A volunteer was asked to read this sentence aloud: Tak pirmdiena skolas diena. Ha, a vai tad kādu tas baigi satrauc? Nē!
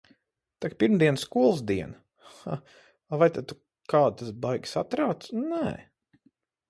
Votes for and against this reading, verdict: 2, 4, rejected